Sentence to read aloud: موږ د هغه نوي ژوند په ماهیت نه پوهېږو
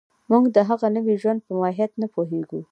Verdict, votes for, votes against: accepted, 2, 0